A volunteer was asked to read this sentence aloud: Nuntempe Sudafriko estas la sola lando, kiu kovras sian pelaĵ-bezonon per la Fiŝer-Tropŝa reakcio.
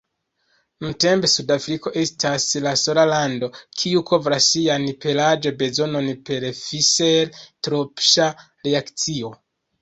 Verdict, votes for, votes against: rejected, 1, 2